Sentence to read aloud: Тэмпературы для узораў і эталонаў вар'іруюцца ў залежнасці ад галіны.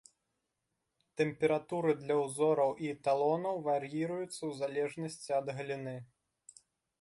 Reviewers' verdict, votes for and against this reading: accepted, 2, 0